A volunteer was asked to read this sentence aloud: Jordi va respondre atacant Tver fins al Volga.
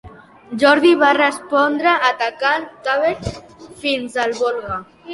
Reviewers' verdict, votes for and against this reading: accepted, 2, 0